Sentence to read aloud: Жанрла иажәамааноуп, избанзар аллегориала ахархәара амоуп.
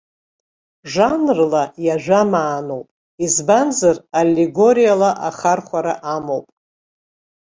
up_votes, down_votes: 2, 0